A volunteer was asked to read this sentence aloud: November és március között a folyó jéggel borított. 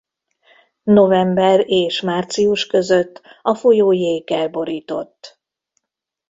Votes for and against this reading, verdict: 2, 0, accepted